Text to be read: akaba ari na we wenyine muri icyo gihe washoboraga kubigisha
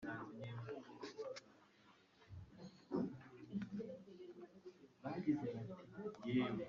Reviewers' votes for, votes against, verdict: 1, 2, rejected